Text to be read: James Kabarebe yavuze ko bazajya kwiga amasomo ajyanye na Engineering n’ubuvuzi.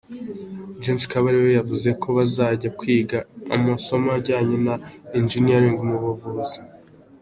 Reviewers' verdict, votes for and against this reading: accepted, 2, 0